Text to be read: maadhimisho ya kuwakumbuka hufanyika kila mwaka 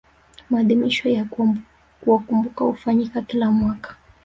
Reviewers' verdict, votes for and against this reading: rejected, 0, 2